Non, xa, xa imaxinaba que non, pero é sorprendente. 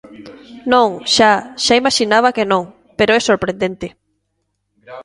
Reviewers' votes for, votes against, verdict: 2, 0, accepted